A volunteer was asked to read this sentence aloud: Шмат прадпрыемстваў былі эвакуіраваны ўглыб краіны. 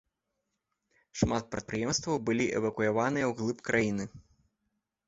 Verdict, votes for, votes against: rejected, 0, 2